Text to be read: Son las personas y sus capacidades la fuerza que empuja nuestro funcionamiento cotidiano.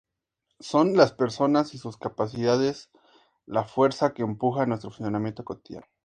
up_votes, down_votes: 2, 0